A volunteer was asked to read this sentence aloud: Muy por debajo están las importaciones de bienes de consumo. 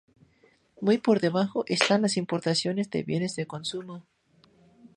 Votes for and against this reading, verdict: 2, 0, accepted